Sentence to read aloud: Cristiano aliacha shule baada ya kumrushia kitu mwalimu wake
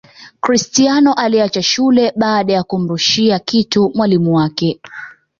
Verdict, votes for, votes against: accepted, 2, 1